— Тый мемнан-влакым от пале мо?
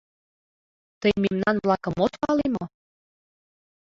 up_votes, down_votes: 2, 1